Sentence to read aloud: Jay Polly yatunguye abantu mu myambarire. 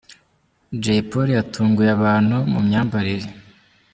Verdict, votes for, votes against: accepted, 2, 0